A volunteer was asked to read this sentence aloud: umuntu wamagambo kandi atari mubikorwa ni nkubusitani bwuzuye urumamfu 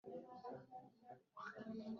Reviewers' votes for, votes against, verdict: 0, 3, rejected